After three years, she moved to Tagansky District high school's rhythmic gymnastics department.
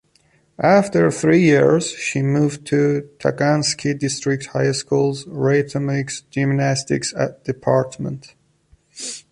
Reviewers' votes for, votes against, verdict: 1, 2, rejected